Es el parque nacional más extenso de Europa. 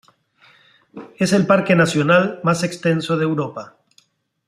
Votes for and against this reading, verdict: 2, 0, accepted